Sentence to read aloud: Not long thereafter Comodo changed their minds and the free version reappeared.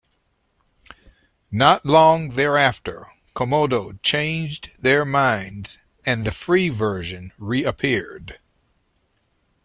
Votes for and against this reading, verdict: 2, 0, accepted